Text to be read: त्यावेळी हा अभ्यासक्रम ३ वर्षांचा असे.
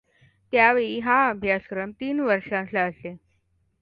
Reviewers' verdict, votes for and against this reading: rejected, 0, 2